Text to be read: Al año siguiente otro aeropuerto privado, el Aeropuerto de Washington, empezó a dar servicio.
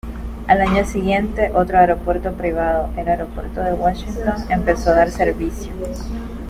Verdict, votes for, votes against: accepted, 2, 0